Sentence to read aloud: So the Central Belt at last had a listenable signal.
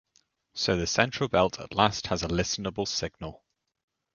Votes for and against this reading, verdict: 1, 2, rejected